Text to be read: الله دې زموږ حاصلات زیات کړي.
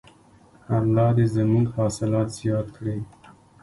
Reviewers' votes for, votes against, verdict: 0, 2, rejected